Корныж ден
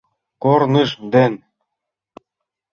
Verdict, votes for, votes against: accepted, 2, 0